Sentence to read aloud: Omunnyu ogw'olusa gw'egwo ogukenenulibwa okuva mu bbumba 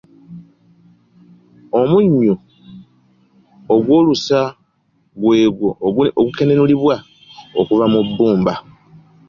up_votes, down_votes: 2, 0